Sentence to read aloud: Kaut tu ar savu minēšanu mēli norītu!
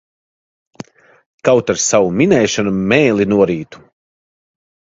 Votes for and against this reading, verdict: 0, 2, rejected